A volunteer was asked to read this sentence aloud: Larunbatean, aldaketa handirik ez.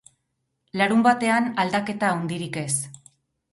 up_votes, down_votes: 2, 4